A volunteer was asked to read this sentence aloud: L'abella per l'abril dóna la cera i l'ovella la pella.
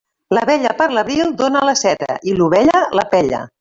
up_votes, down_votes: 1, 2